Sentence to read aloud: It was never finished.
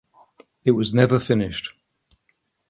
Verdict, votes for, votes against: accepted, 2, 0